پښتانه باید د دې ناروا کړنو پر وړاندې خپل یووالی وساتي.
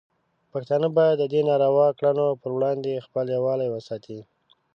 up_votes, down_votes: 2, 0